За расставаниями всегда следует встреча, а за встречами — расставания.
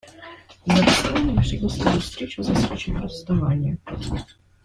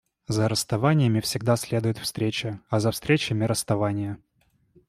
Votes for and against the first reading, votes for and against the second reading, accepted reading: 1, 2, 2, 0, second